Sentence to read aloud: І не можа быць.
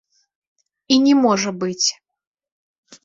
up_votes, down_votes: 2, 0